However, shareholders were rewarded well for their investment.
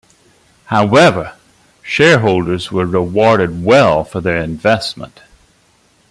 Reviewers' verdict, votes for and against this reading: accepted, 2, 1